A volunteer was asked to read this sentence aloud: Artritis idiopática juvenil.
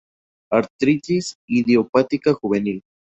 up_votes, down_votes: 2, 0